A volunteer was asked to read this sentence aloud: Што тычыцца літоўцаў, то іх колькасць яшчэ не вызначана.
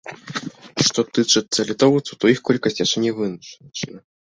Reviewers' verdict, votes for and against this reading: rejected, 0, 2